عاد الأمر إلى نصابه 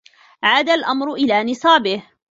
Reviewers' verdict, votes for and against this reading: accepted, 2, 0